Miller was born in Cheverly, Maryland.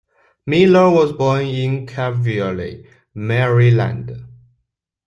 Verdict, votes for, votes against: rejected, 0, 2